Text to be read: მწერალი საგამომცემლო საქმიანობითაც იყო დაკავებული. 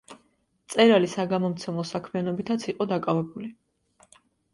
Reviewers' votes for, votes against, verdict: 2, 0, accepted